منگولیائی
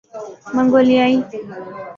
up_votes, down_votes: 0, 2